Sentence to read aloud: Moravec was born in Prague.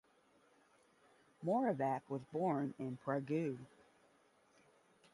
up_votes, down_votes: 0, 5